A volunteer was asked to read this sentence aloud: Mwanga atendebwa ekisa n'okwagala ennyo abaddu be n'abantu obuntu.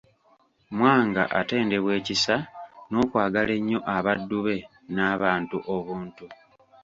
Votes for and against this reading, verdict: 2, 0, accepted